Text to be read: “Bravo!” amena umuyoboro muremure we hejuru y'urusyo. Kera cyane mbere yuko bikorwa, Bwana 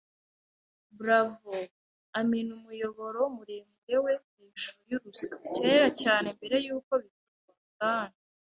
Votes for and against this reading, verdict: 1, 2, rejected